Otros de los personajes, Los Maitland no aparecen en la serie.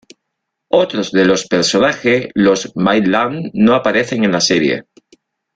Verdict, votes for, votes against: accepted, 2, 0